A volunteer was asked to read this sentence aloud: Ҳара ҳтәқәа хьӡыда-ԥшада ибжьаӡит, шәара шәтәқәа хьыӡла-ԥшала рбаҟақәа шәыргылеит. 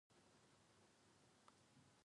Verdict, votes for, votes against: rejected, 0, 2